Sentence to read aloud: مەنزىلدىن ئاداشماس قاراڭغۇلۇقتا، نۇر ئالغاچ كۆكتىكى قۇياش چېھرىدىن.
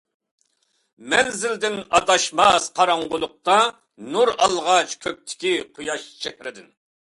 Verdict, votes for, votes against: accepted, 2, 0